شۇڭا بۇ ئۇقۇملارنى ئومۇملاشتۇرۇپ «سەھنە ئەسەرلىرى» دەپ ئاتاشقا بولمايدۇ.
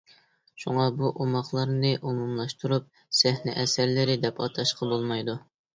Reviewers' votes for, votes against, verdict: 1, 2, rejected